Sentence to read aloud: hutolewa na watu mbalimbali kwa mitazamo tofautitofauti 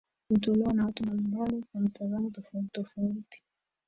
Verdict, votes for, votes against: rejected, 0, 2